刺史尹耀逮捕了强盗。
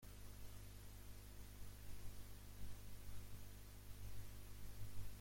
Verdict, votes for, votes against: rejected, 0, 2